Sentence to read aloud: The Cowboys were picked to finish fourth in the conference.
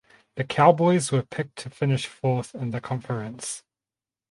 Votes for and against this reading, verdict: 2, 2, rejected